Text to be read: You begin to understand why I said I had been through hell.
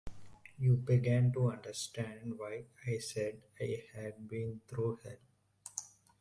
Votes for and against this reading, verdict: 1, 2, rejected